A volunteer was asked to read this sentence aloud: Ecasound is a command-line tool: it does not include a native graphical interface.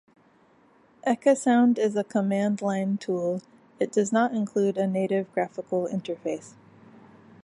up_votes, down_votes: 3, 0